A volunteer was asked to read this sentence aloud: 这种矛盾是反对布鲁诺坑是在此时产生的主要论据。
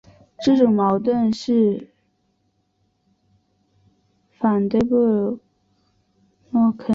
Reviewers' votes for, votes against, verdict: 0, 2, rejected